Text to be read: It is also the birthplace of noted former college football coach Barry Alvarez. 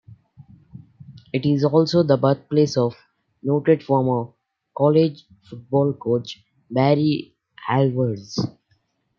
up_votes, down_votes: 2, 0